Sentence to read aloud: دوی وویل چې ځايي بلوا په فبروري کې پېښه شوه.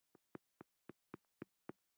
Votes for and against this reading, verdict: 1, 2, rejected